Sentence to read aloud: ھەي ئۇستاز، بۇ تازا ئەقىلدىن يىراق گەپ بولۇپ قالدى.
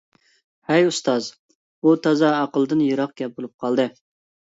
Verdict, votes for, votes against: accepted, 2, 0